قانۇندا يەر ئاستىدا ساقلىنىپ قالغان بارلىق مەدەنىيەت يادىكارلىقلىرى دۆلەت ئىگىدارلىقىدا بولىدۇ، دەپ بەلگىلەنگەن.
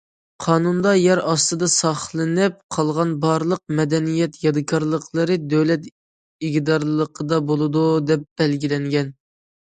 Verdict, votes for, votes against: accepted, 2, 0